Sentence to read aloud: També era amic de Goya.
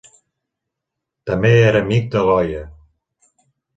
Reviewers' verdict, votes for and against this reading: accepted, 3, 1